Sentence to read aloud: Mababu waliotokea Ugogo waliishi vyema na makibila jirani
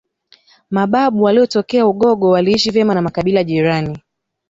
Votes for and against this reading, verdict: 2, 1, accepted